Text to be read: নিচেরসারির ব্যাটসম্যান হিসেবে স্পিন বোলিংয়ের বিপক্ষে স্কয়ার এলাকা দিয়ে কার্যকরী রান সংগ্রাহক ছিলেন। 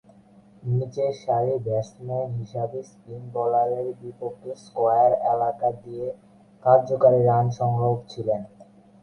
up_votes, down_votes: 0, 8